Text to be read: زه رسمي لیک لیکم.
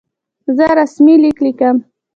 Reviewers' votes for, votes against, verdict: 2, 1, accepted